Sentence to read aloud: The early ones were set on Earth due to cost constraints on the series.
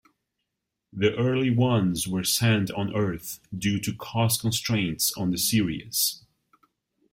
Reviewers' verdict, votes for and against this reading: rejected, 0, 2